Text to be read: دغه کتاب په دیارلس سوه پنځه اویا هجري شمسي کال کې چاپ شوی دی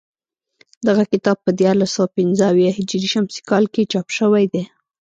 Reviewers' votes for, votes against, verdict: 2, 0, accepted